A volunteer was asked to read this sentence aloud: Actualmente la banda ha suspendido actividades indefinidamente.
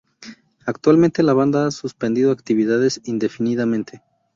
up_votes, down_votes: 0, 2